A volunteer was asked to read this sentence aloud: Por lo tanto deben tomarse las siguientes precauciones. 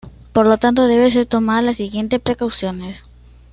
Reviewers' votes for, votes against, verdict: 1, 2, rejected